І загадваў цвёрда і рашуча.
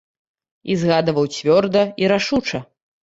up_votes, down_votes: 1, 2